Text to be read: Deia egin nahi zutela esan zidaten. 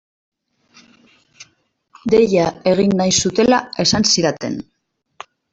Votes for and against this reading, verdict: 2, 0, accepted